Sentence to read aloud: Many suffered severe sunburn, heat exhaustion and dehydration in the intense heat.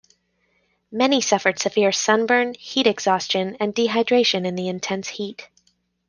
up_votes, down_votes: 2, 0